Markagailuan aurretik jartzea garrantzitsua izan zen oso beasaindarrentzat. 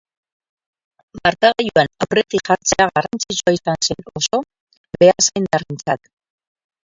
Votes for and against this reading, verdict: 2, 4, rejected